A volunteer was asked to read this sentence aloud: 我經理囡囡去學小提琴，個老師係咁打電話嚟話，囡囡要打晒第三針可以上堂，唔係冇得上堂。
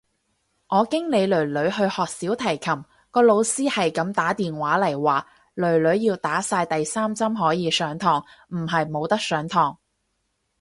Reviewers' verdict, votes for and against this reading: rejected, 2, 2